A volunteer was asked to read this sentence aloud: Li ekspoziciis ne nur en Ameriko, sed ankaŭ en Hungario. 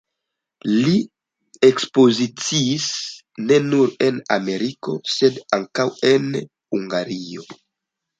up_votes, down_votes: 2, 0